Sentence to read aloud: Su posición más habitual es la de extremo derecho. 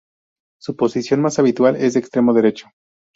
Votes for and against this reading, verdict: 2, 0, accepted